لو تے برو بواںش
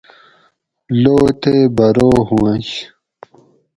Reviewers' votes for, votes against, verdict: 0, 4, rejected